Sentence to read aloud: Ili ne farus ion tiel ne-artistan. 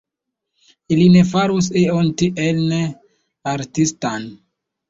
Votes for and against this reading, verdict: 1, 2, rejected